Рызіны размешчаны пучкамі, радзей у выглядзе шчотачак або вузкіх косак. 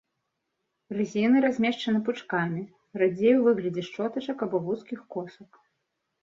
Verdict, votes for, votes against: accepted, 2, 0